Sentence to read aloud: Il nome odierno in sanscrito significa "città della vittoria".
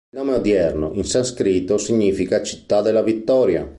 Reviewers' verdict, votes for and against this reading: rejected, 0, 2